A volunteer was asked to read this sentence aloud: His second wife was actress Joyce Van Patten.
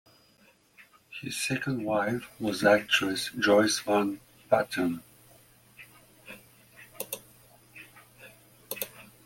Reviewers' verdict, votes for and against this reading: accepted, 2, 0